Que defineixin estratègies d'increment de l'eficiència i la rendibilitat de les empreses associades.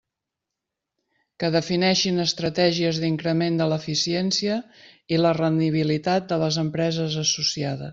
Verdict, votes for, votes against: rejected, 1, 2